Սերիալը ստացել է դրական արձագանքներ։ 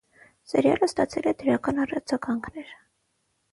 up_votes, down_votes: 3, 6